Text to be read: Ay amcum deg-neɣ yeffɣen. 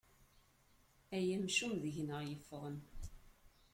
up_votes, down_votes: 2, 0